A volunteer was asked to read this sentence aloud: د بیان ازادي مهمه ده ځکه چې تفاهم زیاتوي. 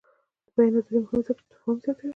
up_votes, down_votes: 1, 2